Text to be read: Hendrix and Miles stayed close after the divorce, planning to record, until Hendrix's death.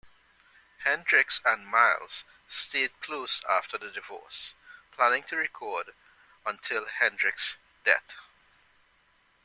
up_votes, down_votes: 1, 2